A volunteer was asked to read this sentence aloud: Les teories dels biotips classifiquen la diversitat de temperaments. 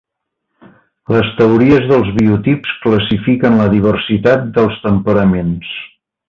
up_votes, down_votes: 0, 2